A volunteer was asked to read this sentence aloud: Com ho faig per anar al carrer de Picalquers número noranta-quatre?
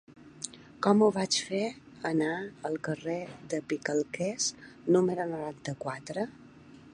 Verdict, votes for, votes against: rejected, 0, 2